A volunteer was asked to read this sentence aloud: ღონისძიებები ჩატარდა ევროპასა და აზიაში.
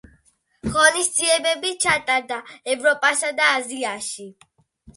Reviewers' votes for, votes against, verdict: 2, 1, accepted